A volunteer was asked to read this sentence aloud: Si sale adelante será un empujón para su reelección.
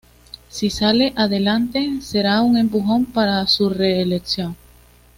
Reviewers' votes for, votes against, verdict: 2, 0, accepted